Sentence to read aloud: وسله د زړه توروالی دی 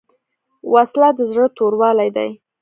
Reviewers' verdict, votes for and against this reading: accepted, 2, 0